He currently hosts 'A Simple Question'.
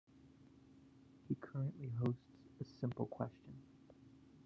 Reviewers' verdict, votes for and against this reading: rejected, 0, 2